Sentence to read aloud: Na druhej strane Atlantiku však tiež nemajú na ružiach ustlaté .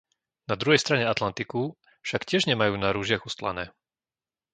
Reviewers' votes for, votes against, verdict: 0, 2, rejected